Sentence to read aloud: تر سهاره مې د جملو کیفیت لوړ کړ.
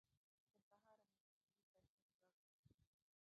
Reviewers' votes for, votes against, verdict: 0, 2, rejected